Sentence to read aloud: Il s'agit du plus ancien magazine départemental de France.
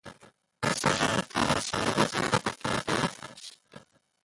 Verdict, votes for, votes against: rejected, 0, 2